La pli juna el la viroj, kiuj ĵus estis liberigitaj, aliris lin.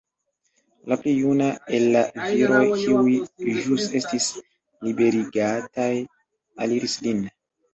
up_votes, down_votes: 0, 2